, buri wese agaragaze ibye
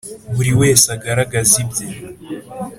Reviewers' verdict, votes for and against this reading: accepted, 2, 0